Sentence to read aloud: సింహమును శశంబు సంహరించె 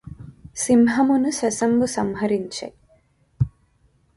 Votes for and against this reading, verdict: 2, 0, accepted